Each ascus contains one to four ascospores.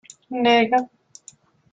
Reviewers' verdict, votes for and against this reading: rejected, 0, 3